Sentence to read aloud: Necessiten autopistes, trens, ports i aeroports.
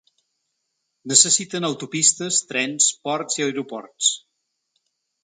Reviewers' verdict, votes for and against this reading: accepted, 5, 0